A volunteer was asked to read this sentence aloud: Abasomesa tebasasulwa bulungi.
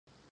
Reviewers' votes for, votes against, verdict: 0, 2, rejected